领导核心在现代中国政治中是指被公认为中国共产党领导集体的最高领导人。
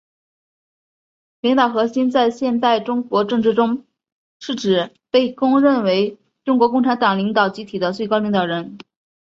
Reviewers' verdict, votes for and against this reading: accepted, 4, 0